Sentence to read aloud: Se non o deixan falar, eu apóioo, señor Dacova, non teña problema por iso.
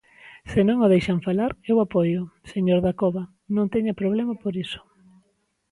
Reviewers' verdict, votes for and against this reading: accepted, 2, 0